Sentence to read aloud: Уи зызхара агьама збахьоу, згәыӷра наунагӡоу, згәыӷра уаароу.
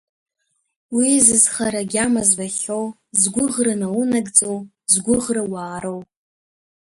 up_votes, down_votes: 2, 0